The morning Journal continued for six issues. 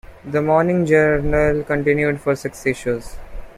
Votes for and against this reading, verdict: 1, 2, rejected